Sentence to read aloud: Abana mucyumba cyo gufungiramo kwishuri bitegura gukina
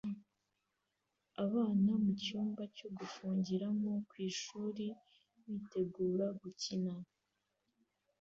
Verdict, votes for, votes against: accepted, 2, 0